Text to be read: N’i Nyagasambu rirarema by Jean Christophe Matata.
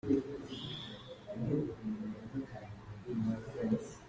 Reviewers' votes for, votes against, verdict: 0, 2, rejected